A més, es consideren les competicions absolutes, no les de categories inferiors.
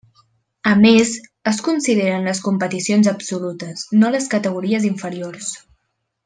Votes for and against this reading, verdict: 1, 2, rejected